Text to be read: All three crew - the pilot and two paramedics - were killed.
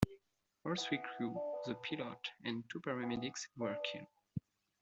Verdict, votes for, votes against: rejected, 0, 2